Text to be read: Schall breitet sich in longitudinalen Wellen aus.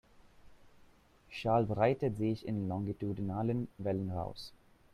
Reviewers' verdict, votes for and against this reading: rejected, 1, 2